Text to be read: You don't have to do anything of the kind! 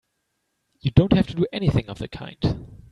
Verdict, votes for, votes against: accepted, 2, 0